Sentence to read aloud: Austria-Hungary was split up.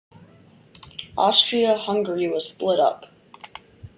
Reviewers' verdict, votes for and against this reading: accepted, 2, 0